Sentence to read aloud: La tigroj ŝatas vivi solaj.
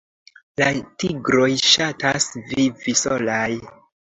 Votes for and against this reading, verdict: 2, 0, accepted